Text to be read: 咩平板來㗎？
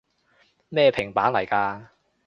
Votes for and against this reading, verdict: 2, 0, accepted